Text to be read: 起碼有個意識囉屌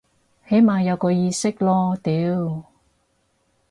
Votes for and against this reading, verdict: 4, 0, accepted